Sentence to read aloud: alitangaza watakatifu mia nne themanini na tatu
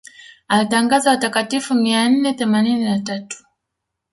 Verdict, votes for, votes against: rejected, 1, 2